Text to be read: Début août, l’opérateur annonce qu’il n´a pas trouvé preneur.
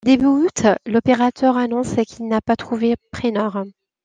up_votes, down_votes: 0, 2